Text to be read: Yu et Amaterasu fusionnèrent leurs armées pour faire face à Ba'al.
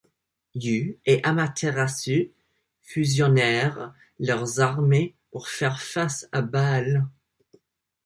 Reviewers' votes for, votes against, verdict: 2, 0, accepted